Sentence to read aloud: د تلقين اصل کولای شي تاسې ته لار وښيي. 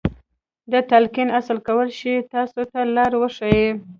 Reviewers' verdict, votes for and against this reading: accepted, 2, 0